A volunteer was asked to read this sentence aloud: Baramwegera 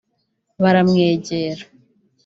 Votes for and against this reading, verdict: 2, 0, accepted